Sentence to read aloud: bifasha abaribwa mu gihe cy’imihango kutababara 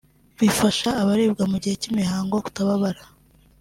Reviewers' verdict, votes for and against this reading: accepted, 2, 0